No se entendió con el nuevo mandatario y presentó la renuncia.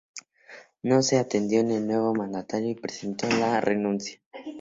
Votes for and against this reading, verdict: 0, 2, rejected